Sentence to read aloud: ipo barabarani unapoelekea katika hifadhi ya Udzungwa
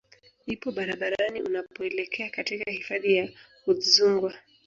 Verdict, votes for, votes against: accepted, 2, 1